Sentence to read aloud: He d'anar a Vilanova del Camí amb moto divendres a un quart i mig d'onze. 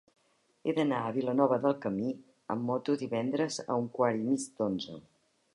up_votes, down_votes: 4, 0